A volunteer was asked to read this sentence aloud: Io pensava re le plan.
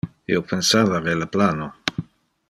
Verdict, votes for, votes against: rejected, 1, 2